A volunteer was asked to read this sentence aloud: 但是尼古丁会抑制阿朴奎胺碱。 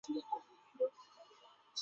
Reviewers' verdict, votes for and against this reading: rejected, 3, 6